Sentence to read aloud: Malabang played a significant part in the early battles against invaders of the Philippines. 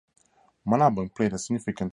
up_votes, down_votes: 0, 8